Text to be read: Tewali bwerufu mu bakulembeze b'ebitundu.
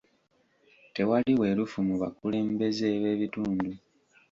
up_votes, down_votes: 2, 0